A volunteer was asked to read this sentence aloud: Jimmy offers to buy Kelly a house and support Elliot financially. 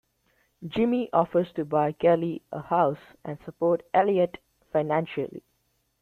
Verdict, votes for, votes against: rejected, 0, 2